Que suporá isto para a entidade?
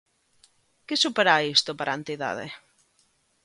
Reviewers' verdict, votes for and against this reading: accepted, 2, 0